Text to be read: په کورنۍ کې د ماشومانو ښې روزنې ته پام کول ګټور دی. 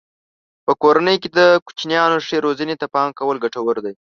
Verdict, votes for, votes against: rejected, 0, 2